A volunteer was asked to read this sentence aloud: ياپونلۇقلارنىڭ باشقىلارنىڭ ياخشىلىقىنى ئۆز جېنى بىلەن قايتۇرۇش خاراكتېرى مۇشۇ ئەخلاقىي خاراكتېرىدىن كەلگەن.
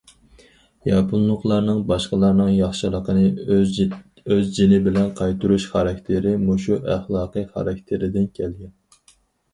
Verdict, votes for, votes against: accepted, 4, 0